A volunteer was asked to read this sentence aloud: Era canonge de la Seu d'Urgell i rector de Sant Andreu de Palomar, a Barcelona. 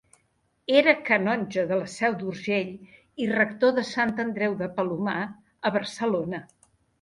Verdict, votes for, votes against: accepted, 2, 0